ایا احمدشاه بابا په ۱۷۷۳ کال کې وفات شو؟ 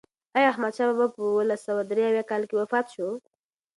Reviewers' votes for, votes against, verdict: 0, 2, rejected